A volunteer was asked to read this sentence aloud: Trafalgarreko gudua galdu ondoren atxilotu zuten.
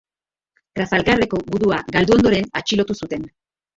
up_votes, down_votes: 2, 0